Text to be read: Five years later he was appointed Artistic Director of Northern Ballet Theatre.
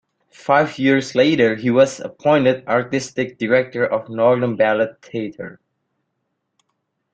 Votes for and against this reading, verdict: 1, 2, rejected